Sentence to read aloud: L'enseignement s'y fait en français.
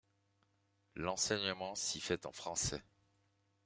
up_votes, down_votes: 2, 0